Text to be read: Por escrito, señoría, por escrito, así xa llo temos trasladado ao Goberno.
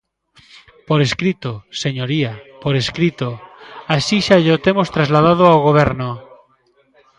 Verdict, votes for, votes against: rejected, 0, 2